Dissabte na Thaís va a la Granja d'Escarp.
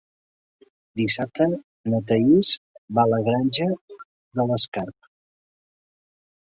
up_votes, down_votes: 1, 2